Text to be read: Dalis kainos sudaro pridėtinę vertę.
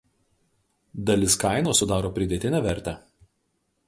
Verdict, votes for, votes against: rejected, 0, 2